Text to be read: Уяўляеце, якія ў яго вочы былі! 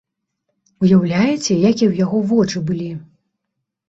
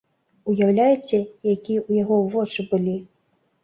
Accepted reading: first